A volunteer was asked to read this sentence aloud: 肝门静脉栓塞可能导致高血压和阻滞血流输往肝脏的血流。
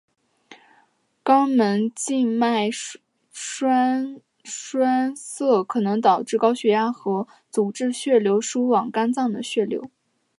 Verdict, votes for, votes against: rejected, 1, 2